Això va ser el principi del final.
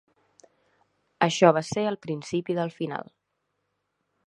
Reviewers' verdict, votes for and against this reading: accepted, 5, 0